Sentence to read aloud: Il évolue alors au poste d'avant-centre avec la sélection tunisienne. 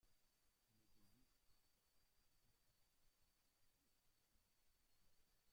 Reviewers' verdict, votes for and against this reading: rejected, 0, 2